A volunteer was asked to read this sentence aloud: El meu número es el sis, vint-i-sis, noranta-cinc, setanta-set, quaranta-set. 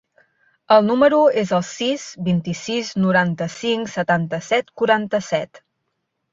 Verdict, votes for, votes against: rejected, 1, 2